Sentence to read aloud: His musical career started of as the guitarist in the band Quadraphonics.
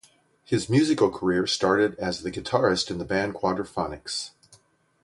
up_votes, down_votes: 3, 0